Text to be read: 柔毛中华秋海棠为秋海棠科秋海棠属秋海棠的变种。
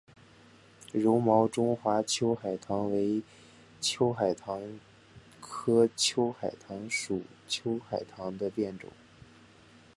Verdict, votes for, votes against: accepted, 6, 2